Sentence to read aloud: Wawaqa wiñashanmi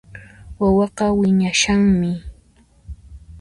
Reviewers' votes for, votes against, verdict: 2, 0, accepted